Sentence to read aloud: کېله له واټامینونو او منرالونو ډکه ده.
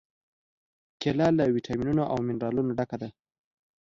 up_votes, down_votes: 2, 0